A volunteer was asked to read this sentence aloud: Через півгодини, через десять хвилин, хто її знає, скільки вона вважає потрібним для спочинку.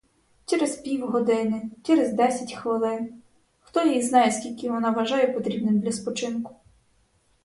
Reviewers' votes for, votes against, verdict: 4, 0, accepted